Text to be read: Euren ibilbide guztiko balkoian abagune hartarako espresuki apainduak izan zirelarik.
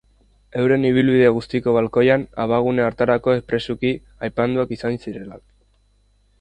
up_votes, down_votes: 0, 2